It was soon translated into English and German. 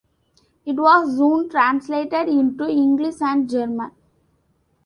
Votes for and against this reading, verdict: 2, 0, accepted